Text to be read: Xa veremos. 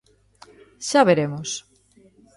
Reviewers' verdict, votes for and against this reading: accepted, 2, 0